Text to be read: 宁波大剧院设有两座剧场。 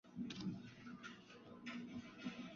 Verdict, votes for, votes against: rejected, 0, 3